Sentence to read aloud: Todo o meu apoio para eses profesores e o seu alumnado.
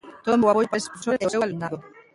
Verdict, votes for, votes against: rejected, 0, 2